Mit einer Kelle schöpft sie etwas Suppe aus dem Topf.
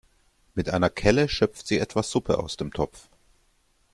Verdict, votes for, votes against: accepted, 2, 0